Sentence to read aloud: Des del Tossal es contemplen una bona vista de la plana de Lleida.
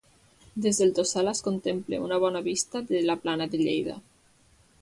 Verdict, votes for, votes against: accepted, 2, 1